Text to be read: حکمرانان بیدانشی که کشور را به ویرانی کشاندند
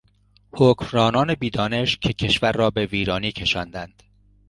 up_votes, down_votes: 2, 0